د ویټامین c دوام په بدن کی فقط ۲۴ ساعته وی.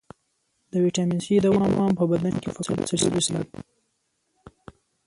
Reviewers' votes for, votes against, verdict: 0, 2, rejected